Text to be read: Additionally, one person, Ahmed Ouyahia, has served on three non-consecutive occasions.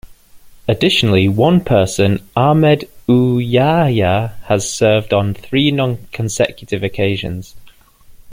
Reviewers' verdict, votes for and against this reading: accepted, 2, 1